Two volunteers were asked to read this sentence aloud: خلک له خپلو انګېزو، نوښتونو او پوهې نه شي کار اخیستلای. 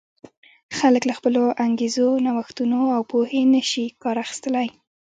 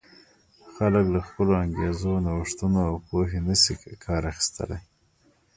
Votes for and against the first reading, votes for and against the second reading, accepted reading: 2, 0, 0, 2, first